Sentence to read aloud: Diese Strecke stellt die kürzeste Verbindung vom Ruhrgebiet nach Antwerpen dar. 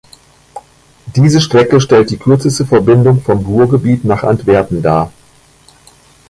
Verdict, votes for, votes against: accepted, 2, 0